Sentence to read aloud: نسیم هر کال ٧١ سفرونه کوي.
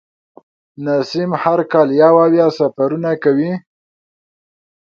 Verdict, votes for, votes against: rejected, 0, 2